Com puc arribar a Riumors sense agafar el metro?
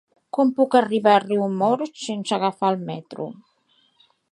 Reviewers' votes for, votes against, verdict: 2, 0, accepted